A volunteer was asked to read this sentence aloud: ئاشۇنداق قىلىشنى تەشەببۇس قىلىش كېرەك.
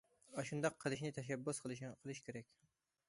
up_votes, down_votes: 1, 2